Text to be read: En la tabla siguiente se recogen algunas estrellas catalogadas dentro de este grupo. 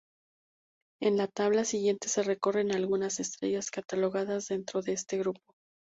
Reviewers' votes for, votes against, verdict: 0, 2, rejected